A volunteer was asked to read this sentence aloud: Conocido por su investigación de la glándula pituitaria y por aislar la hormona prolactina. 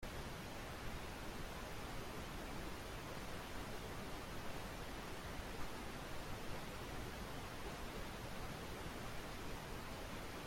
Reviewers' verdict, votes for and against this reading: rejected, 0, 2